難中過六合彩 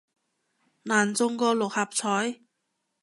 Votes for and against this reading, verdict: 2, 0, accepted